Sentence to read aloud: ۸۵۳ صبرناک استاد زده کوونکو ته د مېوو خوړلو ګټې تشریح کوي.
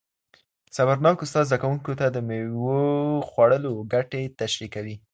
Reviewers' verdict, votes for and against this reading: rejected, 0, 2